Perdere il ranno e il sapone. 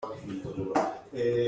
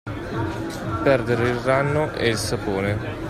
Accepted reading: second